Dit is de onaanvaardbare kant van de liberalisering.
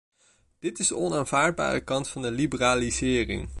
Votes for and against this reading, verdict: 0, 2, rejected